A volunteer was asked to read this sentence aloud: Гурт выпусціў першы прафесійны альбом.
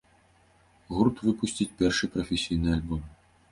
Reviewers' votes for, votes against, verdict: 0, 2, rejected